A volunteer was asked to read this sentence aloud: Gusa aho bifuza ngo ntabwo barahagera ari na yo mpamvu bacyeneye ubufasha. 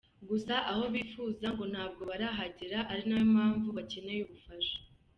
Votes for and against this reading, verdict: 3, 0, accepted